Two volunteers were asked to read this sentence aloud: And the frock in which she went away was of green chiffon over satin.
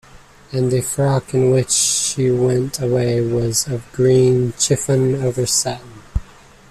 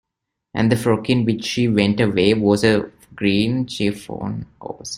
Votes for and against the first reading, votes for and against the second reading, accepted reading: 2, 0, 0, 2, first